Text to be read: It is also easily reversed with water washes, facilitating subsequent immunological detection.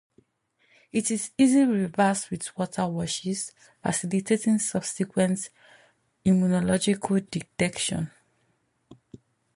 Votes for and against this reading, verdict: 0, 2, rejected